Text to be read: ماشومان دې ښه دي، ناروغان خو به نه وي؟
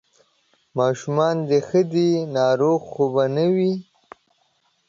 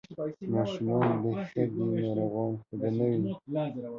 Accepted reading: first